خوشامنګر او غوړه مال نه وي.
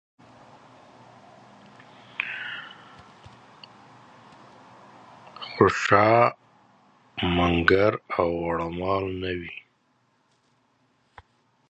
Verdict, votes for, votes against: rejected, 0, 2